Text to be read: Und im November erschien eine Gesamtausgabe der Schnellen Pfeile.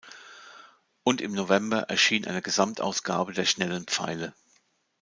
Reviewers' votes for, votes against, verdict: 2, 0, accepted